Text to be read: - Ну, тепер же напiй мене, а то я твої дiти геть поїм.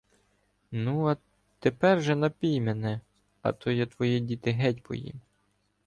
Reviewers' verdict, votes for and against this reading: rejected, 1, 2